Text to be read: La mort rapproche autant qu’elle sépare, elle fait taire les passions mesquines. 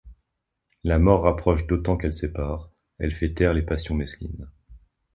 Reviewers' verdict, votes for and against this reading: rejected, 0, 2